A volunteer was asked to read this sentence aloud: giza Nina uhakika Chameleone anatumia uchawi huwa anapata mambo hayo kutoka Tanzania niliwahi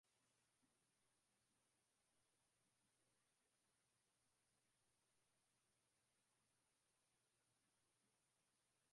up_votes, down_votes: 0, 2